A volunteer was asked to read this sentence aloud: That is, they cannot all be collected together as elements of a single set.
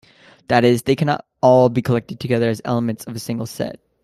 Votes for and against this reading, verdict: 2, 0, accepted